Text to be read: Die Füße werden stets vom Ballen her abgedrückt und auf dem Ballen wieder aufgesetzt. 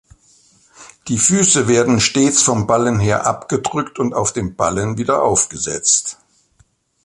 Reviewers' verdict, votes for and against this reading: accepted, 2, 0